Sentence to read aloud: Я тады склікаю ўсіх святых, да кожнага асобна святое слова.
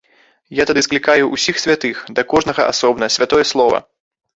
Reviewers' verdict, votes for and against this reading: accepted, 2, 1